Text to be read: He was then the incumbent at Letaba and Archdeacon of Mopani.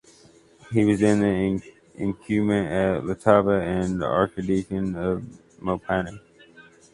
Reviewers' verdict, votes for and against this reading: rejected, 0, 2